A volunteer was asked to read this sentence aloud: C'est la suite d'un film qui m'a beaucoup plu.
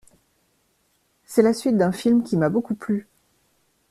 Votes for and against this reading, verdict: 2, 0, accepted